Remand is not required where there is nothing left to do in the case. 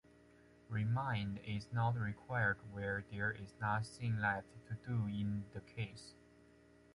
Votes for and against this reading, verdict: 2, 0, accepted